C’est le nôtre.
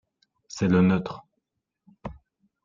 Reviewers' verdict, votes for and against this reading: rejected, 0, 2